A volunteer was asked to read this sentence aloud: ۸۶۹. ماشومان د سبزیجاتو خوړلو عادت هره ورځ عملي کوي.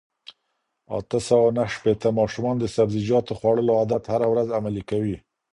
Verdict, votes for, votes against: rejected, 0, 2